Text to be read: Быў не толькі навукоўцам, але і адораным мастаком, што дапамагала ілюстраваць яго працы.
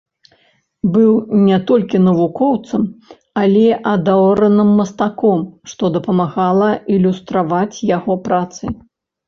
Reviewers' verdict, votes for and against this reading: rejected, 0, 2